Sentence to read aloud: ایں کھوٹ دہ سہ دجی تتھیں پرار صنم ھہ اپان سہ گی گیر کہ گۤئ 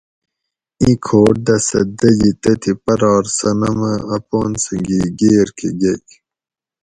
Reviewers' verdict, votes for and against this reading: accepted, 4, 0